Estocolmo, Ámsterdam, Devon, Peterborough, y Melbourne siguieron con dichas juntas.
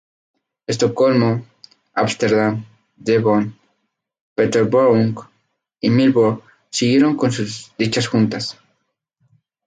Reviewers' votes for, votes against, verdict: 2, 2, rejected